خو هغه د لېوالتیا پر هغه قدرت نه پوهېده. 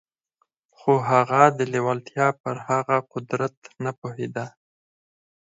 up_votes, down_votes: 4, 0